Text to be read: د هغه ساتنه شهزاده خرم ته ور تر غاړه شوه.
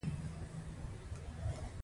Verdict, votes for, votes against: rejected, 0, 2